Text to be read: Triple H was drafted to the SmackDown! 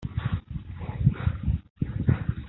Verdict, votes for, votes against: rejected, 0, 2